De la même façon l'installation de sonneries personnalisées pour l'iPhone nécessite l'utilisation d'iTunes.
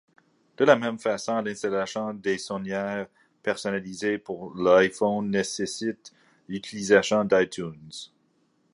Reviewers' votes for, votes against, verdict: 1, 2, rejected